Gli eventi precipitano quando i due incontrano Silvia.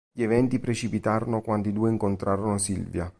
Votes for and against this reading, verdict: 1, 2, rejected